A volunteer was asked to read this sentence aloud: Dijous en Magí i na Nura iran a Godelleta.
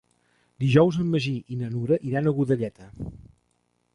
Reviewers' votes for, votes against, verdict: 5, 0, accepted